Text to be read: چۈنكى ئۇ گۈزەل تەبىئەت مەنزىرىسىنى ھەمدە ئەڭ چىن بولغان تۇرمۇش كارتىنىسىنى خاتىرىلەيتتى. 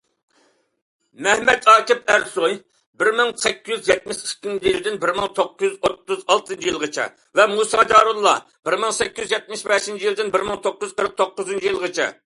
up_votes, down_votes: 0, 2